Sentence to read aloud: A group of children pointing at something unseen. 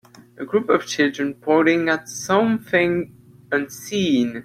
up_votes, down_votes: 2, 0